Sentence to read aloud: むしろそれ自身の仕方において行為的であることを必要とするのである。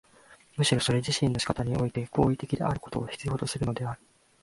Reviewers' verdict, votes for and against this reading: rejected, 1, 2